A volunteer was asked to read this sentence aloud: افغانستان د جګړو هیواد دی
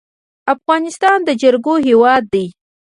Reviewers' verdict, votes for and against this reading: rejected, 0, 2